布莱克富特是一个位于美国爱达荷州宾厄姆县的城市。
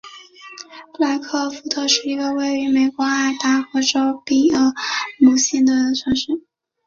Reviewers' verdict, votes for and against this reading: rejected, 0, 2